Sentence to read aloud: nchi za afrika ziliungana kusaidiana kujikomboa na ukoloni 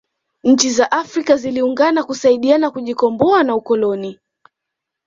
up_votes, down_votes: 2, 0